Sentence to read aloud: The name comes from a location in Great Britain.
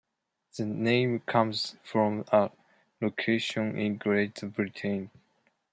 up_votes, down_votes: 0, 2